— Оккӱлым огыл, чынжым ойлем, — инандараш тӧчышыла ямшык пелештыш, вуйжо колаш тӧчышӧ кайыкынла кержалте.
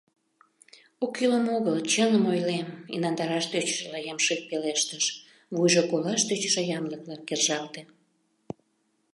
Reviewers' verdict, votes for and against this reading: rejected, 0, 2